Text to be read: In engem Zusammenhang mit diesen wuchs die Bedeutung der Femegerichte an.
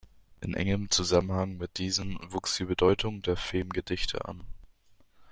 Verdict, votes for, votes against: rejected, 1, 2